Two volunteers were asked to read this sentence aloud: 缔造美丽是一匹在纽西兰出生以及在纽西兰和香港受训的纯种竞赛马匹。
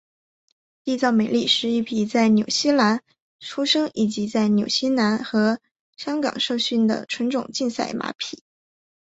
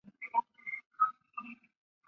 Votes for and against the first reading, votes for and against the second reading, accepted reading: 4, 2, 0, 3, first